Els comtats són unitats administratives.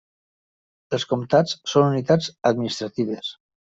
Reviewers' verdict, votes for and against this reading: rejected, 1, 2